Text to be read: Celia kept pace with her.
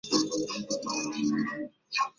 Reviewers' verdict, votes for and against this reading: rejected, 0, 2